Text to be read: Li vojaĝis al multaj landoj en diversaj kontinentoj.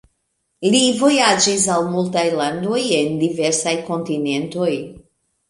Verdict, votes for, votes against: rejected, 1, 2